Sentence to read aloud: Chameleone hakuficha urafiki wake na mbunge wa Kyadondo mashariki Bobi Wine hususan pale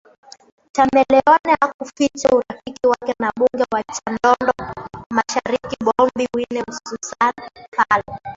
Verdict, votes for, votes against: rejected, 0, 2